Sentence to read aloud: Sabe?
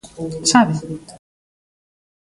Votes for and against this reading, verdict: 1, 2, rejected